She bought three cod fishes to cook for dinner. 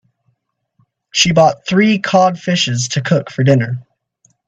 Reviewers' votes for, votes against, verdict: 2, 0, accepted